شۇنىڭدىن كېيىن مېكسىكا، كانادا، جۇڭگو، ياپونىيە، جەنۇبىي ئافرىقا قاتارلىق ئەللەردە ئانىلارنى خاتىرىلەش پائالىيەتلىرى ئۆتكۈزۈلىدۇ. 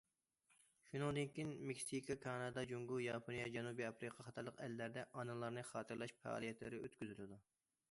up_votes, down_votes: 2, 0